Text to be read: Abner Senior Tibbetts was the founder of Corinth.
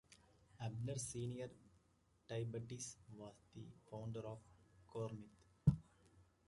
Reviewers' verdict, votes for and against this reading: rejected, 0, 2